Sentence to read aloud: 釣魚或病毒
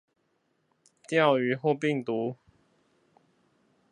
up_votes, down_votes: 4, 0